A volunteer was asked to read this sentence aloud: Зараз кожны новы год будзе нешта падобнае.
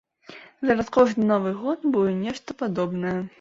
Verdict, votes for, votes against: accepted, 2, 0